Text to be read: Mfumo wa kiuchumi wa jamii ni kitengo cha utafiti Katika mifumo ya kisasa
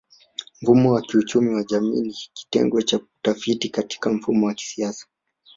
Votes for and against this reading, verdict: 2, 0, accepted